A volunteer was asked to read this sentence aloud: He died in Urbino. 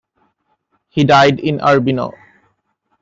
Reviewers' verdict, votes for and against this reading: accepted, 2, 0